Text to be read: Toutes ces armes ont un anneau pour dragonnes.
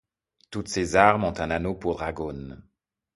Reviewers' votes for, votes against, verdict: 0, 2, rejected